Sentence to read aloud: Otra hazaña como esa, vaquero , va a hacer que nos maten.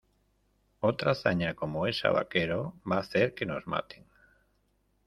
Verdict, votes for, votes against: accepted, 2, 0